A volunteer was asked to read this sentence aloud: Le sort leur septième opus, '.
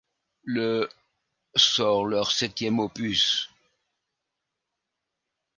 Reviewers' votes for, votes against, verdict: 1, 2, rejected